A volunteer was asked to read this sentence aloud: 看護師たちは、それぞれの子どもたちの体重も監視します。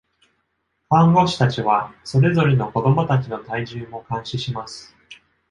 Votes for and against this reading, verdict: 2, 0, accepted